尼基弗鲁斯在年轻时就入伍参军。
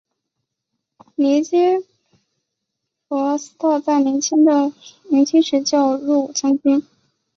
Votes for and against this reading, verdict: 2, 4, rejected